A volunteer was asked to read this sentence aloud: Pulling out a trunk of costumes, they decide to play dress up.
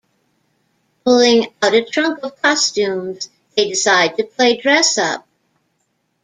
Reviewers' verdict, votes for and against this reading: accepted, 2, 0